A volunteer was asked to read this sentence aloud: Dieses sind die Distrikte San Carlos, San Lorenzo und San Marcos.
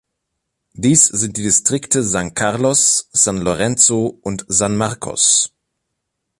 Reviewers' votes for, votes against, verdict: 0, 2, rejected